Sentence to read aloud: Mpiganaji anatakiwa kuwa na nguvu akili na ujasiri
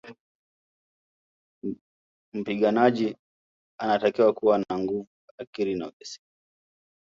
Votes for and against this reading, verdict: 1, 2, rejected